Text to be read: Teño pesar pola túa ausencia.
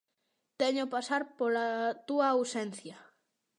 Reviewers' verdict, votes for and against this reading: rejected, 0, 2